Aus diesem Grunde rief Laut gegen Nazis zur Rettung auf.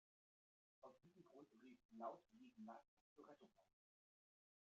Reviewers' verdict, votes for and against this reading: rejected, 0, 2